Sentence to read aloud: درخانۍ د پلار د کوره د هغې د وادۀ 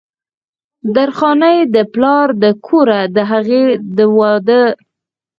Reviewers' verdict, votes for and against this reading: rejected, 2, 4